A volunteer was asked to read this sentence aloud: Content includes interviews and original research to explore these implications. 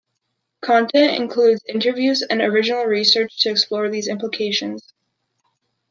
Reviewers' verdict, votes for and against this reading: accepted, 2, 0